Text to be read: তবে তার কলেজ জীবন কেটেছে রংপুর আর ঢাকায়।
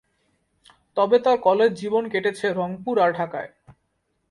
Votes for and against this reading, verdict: 2, 1, accepted